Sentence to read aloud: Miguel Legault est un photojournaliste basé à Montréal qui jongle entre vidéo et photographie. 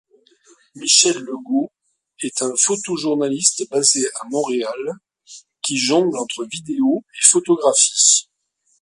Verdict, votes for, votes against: rejected, 1, 2